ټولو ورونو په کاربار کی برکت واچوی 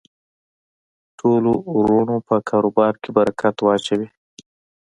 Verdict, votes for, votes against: accepted, 2, 1